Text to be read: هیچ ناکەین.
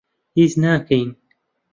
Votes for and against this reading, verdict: 2, 0, accepted